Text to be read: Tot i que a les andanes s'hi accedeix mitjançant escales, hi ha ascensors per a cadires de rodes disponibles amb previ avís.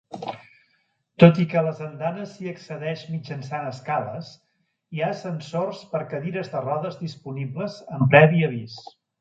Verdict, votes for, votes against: rejected, 1, 2